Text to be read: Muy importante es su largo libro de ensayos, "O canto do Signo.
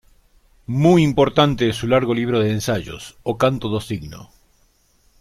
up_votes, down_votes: 2, 0